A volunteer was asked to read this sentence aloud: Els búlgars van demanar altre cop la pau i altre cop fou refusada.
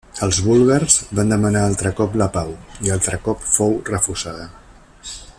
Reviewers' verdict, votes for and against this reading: rejected, 1, 2